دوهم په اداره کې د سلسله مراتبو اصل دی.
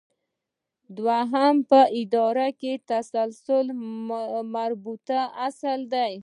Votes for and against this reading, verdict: 1, 2, rejected